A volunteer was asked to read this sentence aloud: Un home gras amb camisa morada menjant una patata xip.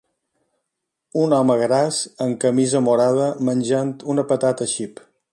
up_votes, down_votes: 2, 0